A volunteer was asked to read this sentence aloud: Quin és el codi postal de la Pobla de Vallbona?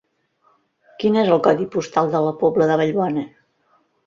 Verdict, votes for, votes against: accepted, 4, 0